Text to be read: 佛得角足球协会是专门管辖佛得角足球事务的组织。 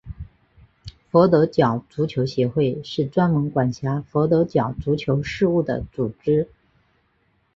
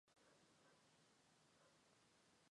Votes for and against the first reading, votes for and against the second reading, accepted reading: 4, 0, 0, 2, first